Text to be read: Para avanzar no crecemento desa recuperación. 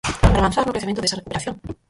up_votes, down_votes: 0, 4